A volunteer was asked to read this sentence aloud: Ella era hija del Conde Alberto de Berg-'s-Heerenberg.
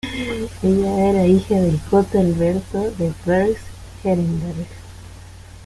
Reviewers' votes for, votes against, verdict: 0, 2, rejected